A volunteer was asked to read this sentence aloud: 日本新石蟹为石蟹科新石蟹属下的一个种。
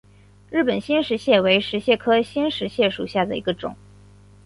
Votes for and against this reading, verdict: 5, 0, accepted